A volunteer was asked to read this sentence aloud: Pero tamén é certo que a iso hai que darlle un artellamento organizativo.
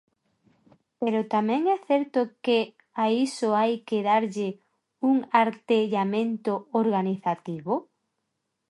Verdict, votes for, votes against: accepted, 2, 0